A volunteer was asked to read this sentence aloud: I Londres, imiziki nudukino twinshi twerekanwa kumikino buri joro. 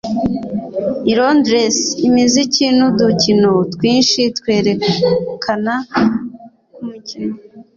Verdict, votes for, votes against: rejected, 1, 2